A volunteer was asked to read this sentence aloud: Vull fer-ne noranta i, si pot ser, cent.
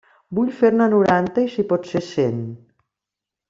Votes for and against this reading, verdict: 3, 0, accepted